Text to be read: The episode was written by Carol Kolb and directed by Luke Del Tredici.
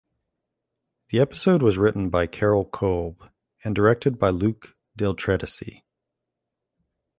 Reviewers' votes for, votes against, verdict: 2, 0, accepted